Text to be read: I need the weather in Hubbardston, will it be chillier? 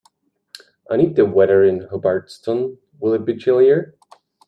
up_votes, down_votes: 2, 0